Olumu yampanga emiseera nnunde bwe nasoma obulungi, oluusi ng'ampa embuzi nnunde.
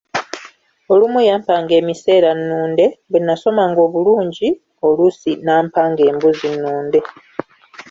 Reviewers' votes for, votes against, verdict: 0, 2, rejected